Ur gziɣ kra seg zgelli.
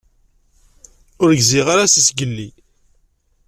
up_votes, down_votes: 1, 2